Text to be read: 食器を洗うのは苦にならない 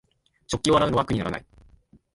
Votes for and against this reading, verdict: 2, 0, accepted